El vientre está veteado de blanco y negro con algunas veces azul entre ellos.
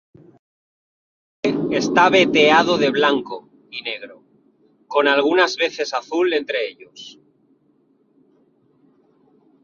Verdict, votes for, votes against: rejected, 0, 2